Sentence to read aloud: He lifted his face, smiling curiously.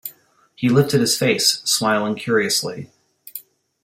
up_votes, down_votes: 2, 0